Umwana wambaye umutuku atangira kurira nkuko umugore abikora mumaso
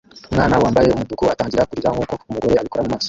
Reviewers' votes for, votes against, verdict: 1, 2, rejected